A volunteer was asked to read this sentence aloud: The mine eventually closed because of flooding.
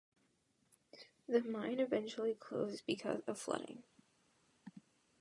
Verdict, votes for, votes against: rejected, 0, 2